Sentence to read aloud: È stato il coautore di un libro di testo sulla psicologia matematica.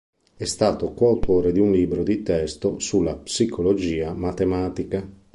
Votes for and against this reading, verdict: 0, 2, rejected